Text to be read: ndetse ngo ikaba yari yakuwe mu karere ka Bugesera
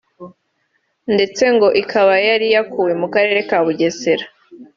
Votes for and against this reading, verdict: 2, 0, accepted